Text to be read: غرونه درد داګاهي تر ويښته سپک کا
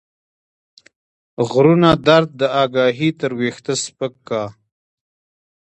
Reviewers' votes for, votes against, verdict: 1, 2, rejected